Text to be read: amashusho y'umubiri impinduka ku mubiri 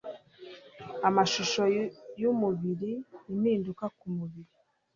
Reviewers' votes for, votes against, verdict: 1, 2, rejected